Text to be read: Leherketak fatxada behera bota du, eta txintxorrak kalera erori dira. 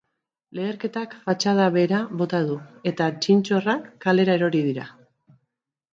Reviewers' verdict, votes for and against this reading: accepted, 2, 0